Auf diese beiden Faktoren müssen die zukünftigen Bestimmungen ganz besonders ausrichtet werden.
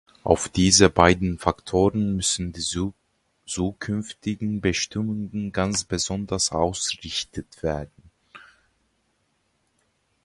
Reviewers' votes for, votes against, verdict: 0, 2, rejected